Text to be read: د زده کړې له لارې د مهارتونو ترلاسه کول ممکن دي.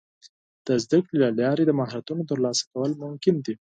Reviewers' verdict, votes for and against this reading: accepted, 4, 0